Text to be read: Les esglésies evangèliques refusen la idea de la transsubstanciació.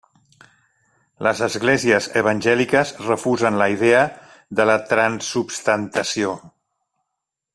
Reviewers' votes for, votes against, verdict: 1, 2, rejected